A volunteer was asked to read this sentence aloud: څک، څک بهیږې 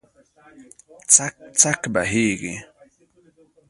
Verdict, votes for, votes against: rejected, 1, 2